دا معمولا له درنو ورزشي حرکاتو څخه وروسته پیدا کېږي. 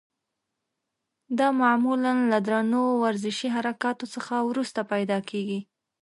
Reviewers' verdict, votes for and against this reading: accepted, 3, 0